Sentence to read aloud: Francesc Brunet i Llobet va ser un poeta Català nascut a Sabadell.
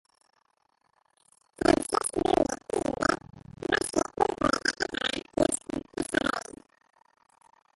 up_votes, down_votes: 1, 2